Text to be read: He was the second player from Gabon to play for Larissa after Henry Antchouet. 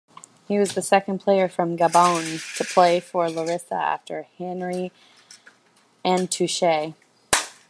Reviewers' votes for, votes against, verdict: 2, 1, accepted